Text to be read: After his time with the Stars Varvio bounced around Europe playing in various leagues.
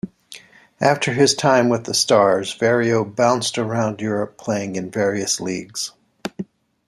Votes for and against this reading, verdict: 1, 2, rejected